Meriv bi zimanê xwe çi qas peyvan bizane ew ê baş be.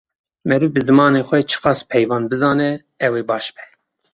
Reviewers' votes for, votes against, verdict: 2, 0, accepted